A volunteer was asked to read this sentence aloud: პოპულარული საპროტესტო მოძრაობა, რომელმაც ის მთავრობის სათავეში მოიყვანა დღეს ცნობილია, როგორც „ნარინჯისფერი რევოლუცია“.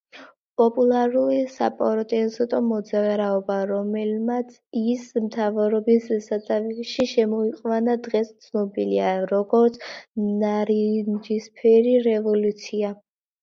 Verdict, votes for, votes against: rejected, 0, 2